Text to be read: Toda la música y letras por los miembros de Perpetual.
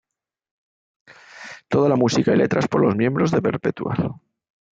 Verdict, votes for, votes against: accepted, 2, 1